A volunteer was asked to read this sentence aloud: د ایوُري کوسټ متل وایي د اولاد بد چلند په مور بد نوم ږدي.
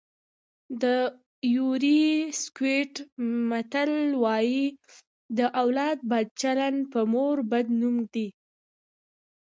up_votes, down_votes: 1, 2